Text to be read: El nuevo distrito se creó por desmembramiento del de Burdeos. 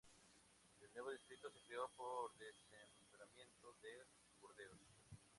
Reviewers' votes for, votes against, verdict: 2, 0, accepted